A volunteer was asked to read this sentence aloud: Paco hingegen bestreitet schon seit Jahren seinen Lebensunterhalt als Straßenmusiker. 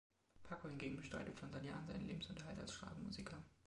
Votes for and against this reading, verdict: 0, 2, rejected